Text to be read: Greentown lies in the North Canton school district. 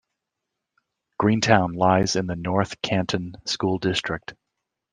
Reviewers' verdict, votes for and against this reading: accepted, 2, 0